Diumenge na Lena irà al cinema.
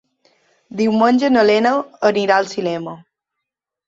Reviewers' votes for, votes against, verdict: 0, 2, rejected